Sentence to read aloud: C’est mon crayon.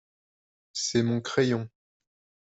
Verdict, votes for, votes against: accepted, 2, 0